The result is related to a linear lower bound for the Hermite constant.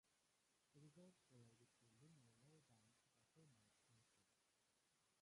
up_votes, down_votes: 0, 3